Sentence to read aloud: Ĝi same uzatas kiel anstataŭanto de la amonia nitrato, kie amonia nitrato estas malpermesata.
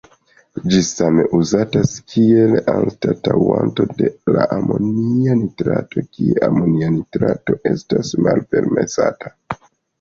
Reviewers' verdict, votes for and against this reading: rejected, 1, 2